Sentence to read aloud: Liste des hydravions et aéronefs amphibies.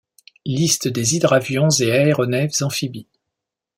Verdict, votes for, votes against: accepted, 2, 0